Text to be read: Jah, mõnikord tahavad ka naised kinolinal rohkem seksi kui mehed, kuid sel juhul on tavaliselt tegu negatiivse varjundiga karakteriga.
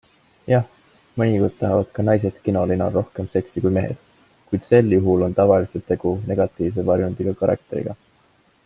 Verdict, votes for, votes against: accepted, 2, 0